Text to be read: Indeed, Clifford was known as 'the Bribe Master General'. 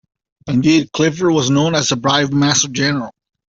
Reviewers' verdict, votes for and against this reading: accepted, 3, 0